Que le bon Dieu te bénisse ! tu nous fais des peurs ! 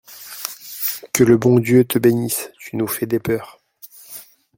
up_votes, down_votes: 2, 0